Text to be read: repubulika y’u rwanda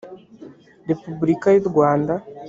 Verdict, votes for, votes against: accepted, 3, 0